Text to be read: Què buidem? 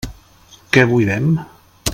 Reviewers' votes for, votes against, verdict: 2, 0, accepted